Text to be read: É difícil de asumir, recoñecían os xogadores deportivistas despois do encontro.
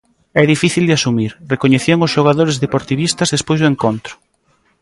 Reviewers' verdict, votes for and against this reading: accepted, 2, 0